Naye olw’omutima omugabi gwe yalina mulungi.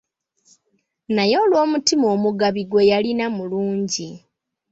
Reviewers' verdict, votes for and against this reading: accepted, 2, 0